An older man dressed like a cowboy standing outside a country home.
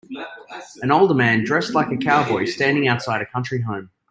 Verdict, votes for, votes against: accepted, 2, 1